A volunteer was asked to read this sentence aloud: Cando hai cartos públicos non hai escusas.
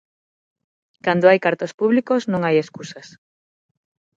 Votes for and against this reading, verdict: 6, 0, accepted